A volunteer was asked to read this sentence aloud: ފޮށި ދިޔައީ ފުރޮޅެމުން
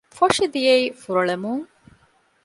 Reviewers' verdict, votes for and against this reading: accepted, 2, 0